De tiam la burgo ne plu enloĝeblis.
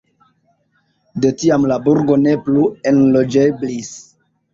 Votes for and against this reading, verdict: 2, 0, accepted